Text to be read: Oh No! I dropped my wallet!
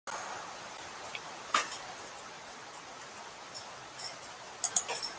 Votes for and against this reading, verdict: 0, 2, rejected